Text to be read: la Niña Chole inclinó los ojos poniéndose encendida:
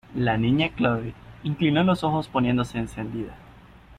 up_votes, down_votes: 2, 1